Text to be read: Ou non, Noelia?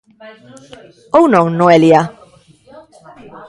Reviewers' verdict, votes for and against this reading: rejected, 0, 2